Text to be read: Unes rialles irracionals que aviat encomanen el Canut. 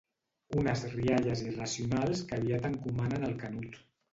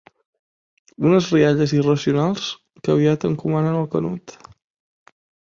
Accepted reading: second